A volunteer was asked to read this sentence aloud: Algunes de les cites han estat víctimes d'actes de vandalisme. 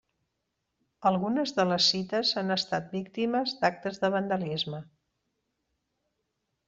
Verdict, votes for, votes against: accepted, 3, 0